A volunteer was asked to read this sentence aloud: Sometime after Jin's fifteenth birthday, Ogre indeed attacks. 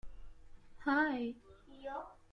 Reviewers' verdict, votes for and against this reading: rejected, 0, 2